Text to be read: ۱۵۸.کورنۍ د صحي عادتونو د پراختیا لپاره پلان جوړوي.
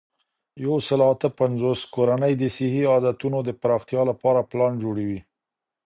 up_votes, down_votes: 0, 2